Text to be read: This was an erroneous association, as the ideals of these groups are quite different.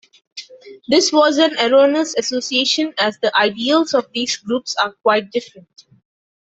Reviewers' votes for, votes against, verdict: 2, 1, accepted